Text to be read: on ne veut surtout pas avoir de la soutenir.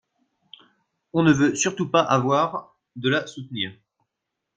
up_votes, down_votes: 2, 1